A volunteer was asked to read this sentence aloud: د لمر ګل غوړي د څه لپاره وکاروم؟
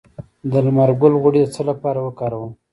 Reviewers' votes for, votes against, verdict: 2, 0, accepted